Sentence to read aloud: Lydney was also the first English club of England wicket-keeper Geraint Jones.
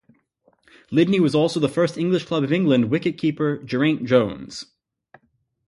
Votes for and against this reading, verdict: 4, 0, accepted